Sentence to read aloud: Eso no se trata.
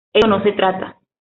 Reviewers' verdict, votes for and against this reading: accepted, 2, 1